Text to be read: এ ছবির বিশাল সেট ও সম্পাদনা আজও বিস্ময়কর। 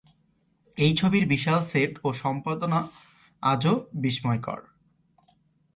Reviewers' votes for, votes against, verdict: 2, 0, accepted